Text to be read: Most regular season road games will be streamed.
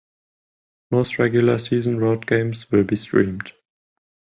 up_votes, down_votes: 10, 0